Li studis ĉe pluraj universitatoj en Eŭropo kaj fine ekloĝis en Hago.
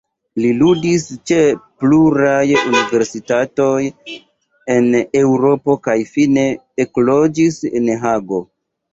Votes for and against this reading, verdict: 1, 2, rejected